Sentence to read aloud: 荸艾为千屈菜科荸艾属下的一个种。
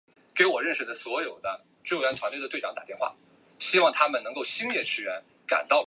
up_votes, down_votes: 0, 2